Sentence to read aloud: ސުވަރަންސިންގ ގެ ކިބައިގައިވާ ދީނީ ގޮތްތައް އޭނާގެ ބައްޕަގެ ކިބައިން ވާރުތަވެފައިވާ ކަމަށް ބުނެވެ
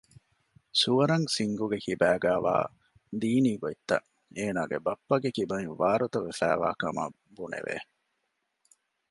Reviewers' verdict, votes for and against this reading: accepted, 2, 0